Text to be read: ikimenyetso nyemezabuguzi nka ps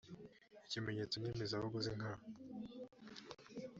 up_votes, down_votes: 1, 2